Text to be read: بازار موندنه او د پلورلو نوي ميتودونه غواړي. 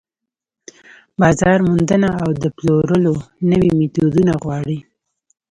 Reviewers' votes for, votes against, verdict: 2, 0, accepted